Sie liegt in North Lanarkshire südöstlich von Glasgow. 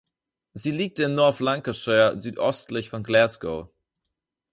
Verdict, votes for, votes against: rejected, 2, 4